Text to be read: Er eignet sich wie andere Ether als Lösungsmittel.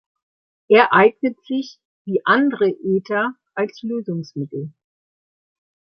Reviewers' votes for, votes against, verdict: 1, 2, rejected